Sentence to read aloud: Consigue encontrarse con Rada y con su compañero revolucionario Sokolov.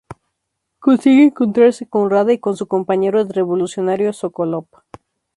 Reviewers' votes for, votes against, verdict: 2, 0, accepted